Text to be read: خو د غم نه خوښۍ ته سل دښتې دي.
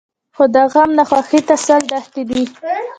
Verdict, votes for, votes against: rejected, 0, 2